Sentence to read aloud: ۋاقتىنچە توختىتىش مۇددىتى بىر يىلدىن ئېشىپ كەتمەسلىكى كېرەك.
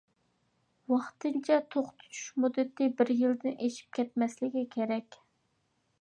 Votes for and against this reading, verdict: 2, 0, accepted